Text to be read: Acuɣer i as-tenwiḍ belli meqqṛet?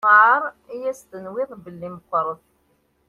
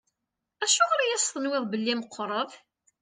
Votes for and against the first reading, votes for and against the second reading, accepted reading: 1, 2, 2, 0, second